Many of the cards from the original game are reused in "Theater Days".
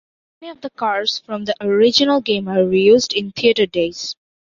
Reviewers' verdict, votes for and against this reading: rejected, 0, 2